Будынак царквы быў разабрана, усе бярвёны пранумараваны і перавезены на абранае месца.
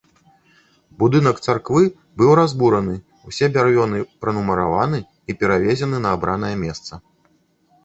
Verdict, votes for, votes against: rejected, 1, 2